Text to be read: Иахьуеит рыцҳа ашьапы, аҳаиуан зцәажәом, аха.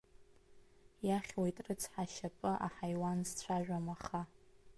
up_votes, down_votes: 2, 0